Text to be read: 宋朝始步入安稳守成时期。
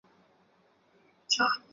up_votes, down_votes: 0, 5